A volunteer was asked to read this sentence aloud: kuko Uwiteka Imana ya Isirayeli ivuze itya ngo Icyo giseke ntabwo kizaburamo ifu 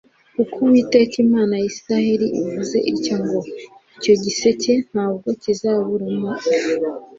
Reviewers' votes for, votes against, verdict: 2, 0, accepted